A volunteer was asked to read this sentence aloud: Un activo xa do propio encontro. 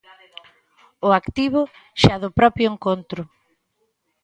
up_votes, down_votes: 0, 2